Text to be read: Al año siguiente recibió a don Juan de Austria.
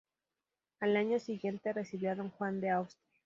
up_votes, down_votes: 2, 2